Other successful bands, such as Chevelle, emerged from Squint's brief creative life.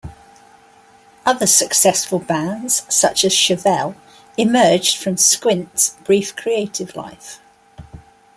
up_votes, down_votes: 3, 0